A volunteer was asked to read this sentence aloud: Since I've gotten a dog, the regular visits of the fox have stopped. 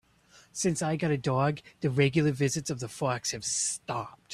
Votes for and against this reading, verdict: 0, 2, rejected